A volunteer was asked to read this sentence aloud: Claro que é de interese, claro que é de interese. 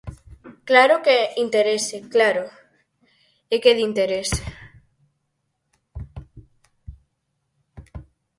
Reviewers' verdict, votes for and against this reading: rejected, 0, 4